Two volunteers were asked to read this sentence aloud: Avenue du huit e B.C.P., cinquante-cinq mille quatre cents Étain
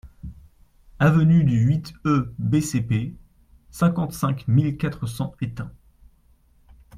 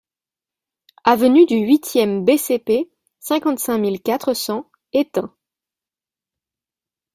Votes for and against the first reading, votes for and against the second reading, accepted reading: 2, 0, 1, 2, first